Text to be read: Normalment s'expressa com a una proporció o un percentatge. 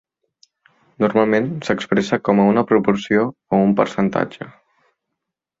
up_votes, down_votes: 2, 0